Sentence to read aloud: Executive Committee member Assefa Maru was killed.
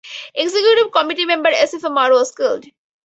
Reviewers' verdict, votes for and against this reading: accepted, 4, 0